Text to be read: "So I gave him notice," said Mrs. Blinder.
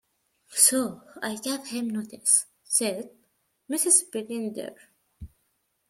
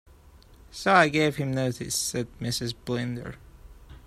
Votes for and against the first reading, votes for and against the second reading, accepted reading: 0, 2, 2, 0, second